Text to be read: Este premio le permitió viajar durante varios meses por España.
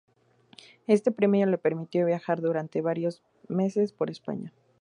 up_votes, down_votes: 2, 0